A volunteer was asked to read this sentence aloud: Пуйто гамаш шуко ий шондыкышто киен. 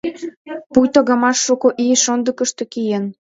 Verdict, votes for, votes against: accepted, 2, 1